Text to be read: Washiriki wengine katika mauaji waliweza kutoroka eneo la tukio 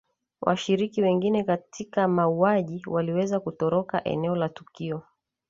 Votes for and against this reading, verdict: 3, 0, accepted